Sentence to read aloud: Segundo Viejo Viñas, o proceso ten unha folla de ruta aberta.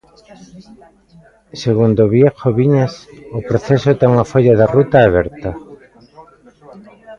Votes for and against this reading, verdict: 1, 2, rejected